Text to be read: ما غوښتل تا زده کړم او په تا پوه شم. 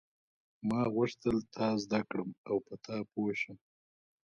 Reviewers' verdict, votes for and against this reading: accepted, 2, 0